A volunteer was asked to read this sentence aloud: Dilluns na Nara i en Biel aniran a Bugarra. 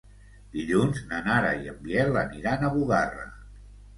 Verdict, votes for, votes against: accepted, 2, 0